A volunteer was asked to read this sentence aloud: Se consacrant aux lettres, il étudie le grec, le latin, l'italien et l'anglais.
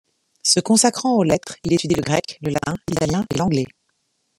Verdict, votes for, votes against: rejected, 1, 2